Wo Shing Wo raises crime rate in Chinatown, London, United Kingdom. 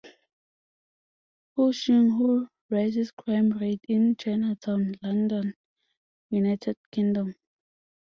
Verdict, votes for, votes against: accepted, 2, 0